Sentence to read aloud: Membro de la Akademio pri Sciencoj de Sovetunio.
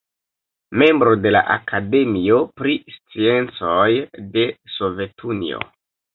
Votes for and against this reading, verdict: 2, 1, accepted